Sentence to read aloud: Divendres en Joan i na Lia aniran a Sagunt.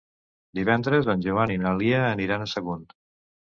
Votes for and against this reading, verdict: 2, 0, accepted